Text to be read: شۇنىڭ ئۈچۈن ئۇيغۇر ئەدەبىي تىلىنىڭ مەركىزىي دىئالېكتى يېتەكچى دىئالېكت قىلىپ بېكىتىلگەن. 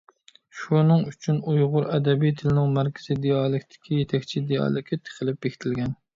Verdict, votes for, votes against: rejected, 1, 2